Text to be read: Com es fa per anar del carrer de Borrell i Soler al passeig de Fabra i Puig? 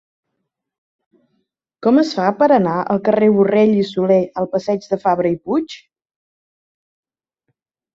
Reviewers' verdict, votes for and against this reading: rejected, 1, 2